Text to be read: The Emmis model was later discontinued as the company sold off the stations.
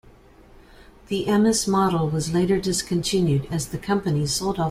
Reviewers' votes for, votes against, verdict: 0, 2, rejected